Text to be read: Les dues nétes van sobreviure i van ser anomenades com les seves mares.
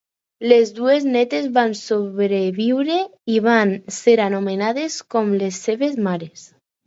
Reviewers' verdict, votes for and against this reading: accepted, 4, 0